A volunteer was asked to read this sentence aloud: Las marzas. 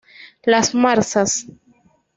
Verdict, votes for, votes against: accepted, 2, 0